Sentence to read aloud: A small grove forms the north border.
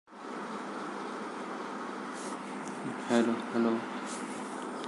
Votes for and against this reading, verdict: 0, 2, rejected